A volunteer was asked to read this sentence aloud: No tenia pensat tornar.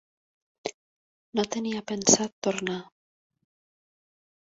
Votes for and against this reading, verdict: 3, 0, accepted